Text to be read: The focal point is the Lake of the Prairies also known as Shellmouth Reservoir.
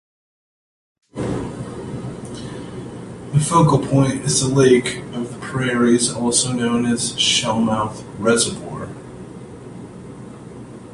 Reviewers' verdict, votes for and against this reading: rejected, 1, 2